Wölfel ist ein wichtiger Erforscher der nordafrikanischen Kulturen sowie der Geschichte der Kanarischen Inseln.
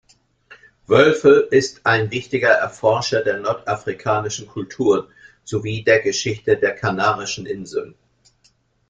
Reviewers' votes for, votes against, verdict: 1, 2, rejected